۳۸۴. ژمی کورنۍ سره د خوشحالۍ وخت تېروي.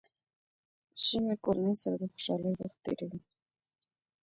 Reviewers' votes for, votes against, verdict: 0, 2, rejected